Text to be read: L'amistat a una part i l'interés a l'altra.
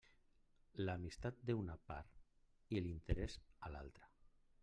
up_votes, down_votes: 1, 2